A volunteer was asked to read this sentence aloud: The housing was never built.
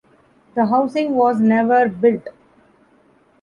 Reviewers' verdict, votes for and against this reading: accepted, 2, 1